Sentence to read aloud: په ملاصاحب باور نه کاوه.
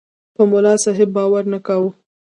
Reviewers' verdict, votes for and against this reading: accepted, 2, 0